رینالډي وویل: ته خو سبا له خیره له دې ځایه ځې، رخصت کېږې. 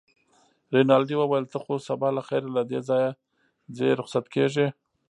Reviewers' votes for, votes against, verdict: 1, 2, rejected